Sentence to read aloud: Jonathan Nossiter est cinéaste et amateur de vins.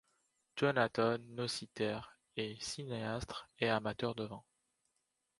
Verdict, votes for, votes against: rejected, 1, 2